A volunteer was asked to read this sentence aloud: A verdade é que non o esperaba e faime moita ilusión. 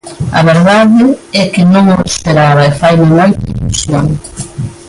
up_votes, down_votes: 0, 2